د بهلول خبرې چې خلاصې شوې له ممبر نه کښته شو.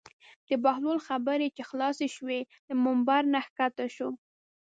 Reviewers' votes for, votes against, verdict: 2, 0, accepted